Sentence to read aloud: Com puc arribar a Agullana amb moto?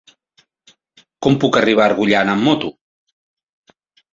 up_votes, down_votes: 1, 2